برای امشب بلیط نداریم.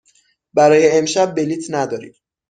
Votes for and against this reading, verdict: 6, 0, accepted